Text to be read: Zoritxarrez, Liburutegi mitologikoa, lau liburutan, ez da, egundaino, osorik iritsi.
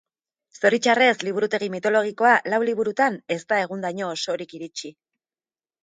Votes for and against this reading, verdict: 0, 2, rejected